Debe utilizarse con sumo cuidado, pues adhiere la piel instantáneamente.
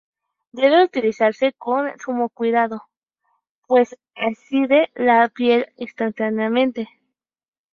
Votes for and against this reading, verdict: 2, 4, rejected